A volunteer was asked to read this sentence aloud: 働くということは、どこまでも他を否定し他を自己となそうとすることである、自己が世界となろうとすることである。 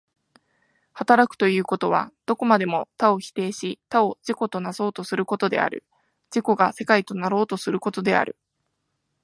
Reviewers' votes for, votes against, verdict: 2, 0, accepted